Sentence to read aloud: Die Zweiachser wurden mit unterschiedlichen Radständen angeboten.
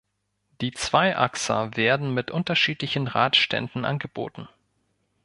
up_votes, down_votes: 1, 2